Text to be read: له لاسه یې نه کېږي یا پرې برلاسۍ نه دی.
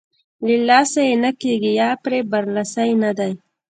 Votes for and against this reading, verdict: 2, 0, accepted